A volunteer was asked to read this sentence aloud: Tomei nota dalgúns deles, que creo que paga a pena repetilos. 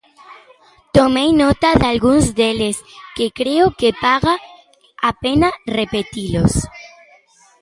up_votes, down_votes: 0, 2